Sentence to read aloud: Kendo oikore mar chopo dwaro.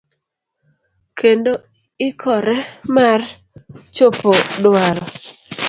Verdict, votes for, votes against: rejected, 0, 2